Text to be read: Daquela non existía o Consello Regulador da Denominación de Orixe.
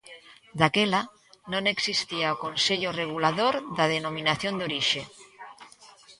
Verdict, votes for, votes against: rejected, 1, 2